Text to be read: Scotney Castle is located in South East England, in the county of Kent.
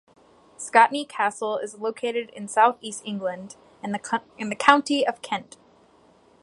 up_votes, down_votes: 1, 2